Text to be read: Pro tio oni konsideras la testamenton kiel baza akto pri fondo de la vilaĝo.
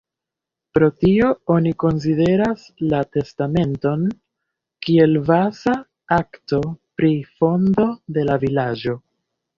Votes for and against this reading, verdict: 0, 2, rejected